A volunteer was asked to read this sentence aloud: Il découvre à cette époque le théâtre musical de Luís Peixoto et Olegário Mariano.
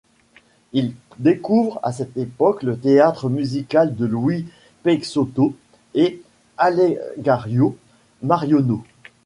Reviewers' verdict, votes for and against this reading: rejected, 0, 2